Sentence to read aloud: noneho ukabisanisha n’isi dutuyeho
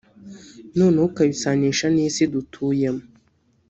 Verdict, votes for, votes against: rejected, 0, 3